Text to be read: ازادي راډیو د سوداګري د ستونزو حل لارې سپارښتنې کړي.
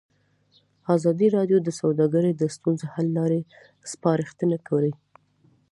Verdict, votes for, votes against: accepted, 2, 0